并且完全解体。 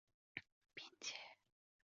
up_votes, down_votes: 0, 2